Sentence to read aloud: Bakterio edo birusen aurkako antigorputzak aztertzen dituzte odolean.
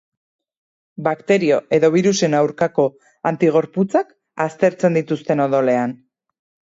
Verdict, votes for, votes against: rejected, 2, 4